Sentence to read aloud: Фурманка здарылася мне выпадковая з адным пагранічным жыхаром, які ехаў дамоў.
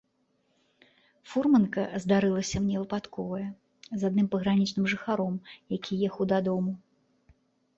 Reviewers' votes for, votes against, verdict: 0, 2, rejected